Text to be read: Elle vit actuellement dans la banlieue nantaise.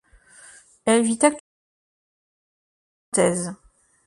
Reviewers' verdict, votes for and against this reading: rejected, 0, 2